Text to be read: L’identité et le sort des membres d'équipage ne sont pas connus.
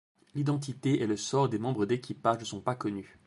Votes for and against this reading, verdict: 2, 0, accepted